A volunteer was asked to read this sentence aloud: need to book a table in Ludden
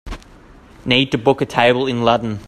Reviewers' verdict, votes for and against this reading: accepted, 2, 1